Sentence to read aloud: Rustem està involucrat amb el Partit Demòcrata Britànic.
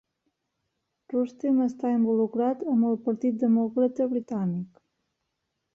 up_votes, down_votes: 1, 2